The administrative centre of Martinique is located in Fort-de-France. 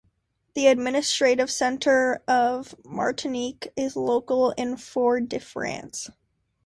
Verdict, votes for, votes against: rejected, 0, 2